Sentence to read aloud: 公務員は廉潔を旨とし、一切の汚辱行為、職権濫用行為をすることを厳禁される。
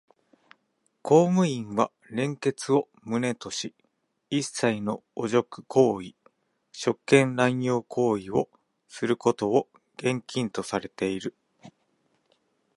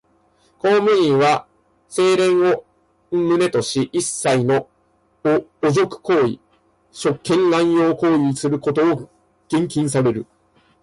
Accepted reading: second